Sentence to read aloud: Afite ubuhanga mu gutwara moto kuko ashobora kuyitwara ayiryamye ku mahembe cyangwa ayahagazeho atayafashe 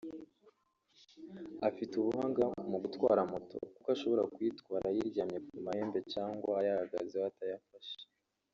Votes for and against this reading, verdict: 1, 2, rejected